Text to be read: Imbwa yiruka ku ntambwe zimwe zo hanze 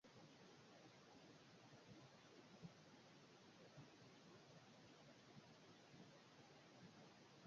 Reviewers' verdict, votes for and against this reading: rejected, 0, 2